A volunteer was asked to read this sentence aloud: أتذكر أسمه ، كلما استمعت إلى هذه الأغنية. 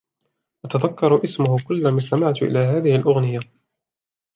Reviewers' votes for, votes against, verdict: 2, 0, accepted